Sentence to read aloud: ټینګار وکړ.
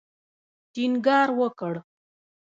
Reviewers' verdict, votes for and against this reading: rejected, 0, 2